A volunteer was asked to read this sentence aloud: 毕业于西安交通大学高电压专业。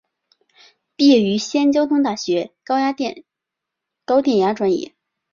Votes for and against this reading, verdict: 1, 2, rejected